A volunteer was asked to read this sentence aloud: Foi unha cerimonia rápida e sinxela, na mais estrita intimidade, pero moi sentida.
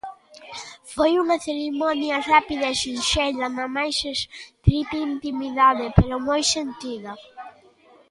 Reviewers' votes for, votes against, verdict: 2, 0, accepted